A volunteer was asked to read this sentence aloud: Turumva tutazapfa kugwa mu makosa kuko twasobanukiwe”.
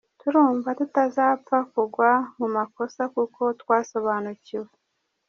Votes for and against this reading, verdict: 1, 2, rejected